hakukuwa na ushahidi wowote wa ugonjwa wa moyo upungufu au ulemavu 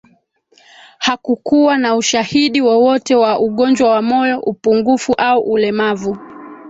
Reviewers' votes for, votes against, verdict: 2, 1, accepted